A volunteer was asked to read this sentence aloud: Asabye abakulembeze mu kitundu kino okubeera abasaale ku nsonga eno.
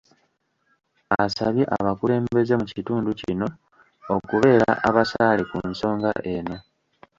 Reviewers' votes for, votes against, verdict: 1, 2, rejected